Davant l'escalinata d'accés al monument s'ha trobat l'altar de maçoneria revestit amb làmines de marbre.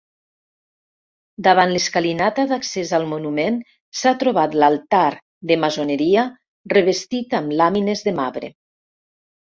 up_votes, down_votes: 1, 2